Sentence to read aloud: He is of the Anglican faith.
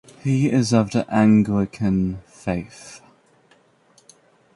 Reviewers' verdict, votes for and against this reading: accepted, 2, 0